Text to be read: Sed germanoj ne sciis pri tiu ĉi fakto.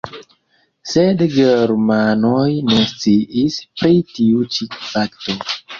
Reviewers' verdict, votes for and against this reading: rejected, 1, 2